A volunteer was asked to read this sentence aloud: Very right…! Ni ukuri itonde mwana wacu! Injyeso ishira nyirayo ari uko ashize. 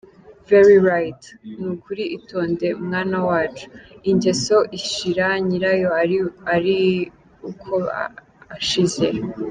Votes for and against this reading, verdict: 0, 2, rejected